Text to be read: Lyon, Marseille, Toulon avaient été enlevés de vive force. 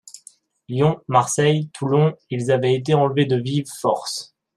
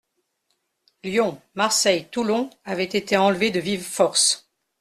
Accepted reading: second